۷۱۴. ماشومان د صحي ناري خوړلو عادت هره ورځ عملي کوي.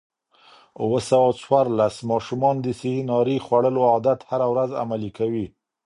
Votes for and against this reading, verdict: 0, 2, rejected